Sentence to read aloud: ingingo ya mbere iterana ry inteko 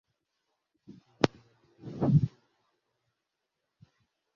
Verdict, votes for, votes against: rejected, 1, 2